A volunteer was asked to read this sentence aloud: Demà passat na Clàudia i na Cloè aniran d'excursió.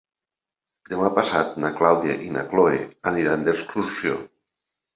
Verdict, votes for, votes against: accepted, 3, 0